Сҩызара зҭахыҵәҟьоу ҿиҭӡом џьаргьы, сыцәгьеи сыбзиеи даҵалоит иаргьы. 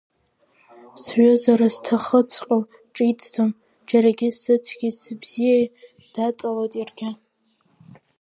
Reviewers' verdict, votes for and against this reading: rejected, 0, 2